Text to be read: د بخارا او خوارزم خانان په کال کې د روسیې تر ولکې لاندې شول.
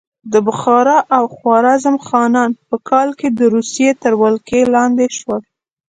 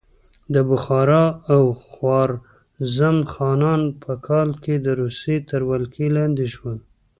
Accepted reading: first